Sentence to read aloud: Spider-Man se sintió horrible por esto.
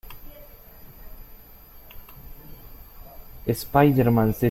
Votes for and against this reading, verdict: 0, 2, rejected